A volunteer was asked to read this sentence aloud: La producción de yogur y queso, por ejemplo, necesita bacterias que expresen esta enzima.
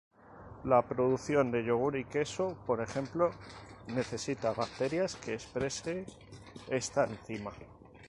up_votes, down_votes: 4, 2